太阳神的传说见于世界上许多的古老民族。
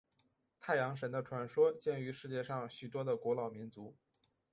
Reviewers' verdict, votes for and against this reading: accepted, 4, 0